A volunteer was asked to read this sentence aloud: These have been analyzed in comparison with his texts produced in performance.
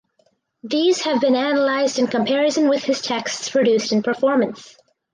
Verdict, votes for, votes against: accepted, 4, 0